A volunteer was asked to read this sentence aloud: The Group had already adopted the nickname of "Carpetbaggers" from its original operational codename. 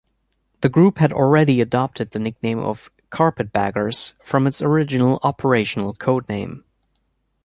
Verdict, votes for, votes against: accepted, 2, 0